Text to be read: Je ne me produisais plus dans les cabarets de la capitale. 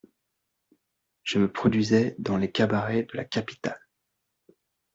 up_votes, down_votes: 0, 2